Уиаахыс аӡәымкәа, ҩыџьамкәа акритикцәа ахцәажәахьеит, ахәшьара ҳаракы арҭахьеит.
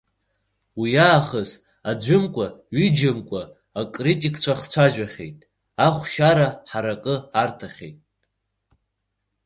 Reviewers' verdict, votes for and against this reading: accepted, 3, 0